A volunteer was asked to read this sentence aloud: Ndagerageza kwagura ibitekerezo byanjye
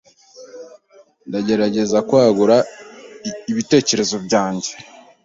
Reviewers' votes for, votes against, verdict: 2, 0, accepted